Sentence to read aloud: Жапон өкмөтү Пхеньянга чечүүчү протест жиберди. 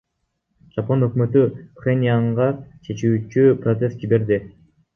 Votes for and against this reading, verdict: 0, 2, rejected